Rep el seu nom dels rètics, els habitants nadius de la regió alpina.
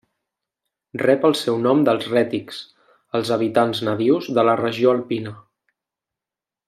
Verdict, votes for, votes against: accepted, 3, 1